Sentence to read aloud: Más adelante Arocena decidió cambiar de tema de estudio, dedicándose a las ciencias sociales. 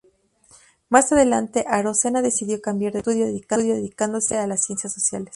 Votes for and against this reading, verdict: 0, 2, rejected